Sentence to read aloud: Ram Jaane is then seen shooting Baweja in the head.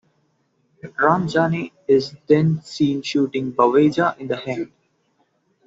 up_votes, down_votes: 2, 0